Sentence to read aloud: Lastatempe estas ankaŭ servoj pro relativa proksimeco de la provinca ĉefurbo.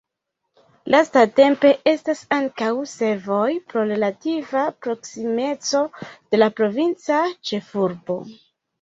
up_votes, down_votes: 0, 2